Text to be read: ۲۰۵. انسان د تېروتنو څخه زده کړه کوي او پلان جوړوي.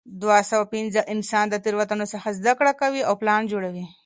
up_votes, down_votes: 0, 2